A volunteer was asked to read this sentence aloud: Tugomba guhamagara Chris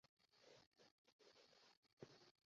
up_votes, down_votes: 0, 2